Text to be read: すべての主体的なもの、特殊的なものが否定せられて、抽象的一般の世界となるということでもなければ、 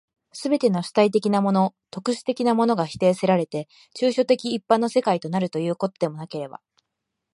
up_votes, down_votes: 3, 0